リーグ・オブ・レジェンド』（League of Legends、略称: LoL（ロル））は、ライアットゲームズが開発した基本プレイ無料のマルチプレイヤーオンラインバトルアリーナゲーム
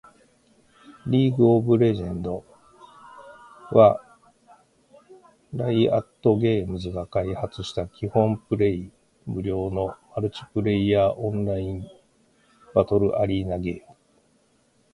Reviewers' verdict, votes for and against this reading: rejected, 0, 2